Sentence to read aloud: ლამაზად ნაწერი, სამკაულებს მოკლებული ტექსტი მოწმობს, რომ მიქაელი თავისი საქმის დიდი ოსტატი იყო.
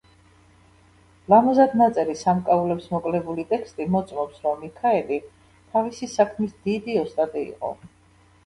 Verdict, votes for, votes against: rejected, 1, 2